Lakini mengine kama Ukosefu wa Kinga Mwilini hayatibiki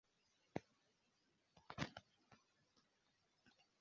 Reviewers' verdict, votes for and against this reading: rejected, 0, 2